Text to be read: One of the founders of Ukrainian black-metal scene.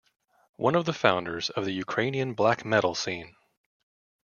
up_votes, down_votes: 0, 2